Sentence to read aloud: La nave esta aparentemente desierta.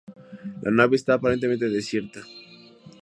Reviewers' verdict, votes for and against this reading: accepted, 2, 0